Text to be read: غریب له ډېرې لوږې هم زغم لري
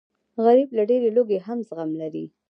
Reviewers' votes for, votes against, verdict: 1, 2, rejected